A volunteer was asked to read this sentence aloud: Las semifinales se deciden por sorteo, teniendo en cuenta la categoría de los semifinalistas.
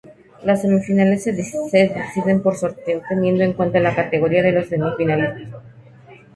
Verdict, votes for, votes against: rejected, 0, 2